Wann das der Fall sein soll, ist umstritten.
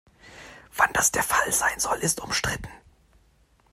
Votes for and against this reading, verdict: 2, 0, accepted